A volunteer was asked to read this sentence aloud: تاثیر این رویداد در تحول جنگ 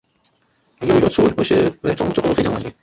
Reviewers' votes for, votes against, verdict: 0, 2, rejected